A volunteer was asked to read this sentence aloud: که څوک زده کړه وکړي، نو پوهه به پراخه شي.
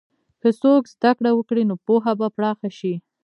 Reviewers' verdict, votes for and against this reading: rejected, 1, 2